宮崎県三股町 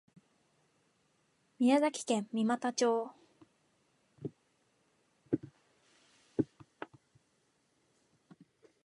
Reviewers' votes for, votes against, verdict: 3, 0, accepted